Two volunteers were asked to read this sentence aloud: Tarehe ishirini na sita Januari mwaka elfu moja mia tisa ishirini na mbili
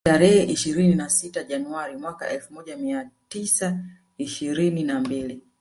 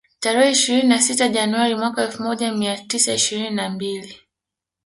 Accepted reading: second